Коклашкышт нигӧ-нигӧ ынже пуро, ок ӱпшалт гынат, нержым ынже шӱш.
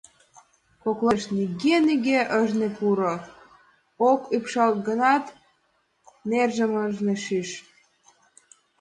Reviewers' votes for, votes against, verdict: 1, 2, rejected